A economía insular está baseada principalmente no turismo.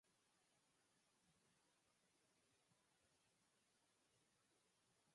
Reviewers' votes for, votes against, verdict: 0, 4, rejected